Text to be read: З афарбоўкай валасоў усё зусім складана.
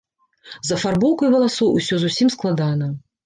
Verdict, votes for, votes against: accepted, 2, 0